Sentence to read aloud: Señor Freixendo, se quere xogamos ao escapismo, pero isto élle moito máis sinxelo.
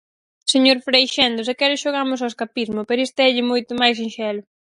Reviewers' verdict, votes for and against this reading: accepted, 4, 0